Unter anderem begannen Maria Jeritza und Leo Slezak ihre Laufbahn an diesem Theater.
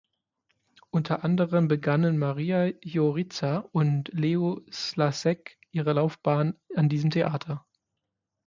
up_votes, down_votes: 0, 6